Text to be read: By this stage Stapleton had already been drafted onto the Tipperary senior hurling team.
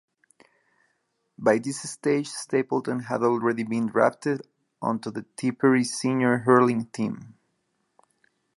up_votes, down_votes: 2, 0